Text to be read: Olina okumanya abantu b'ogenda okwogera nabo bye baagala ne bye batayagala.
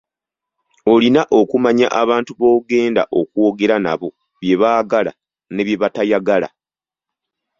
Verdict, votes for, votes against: accepted, 2, 0